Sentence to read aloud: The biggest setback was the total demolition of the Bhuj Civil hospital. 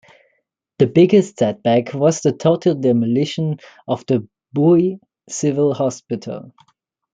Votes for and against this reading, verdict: 2, 1, accepted